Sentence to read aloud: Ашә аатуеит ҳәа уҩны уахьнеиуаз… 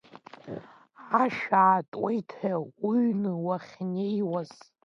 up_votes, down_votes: 0, 2